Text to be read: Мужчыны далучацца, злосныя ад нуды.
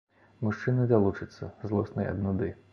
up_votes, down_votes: 2, 0